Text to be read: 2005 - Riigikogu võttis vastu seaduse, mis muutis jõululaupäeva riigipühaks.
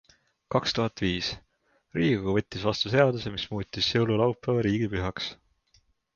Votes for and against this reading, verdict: 0, 2, rejected